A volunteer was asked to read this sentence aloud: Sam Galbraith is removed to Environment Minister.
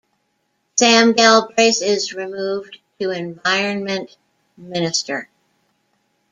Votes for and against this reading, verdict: 2, 0, accepted